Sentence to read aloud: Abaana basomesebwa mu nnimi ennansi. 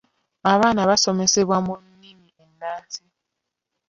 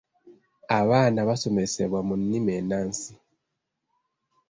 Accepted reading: second